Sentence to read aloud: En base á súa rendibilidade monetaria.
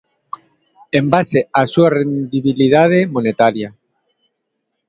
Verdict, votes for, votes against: accepted, 2, 0